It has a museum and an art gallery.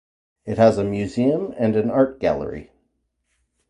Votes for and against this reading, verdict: 2, 0, accepted